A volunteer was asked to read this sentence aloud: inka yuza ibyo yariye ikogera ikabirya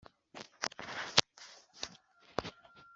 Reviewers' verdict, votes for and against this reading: rejected, 2, 3